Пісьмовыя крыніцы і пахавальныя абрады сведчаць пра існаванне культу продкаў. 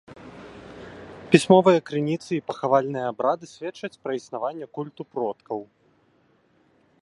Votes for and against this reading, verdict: 2, 0, accepted